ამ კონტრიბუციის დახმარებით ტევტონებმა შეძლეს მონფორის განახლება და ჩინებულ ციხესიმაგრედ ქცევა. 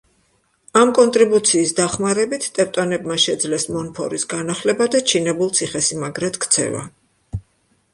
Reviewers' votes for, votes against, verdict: 2, 0, accepted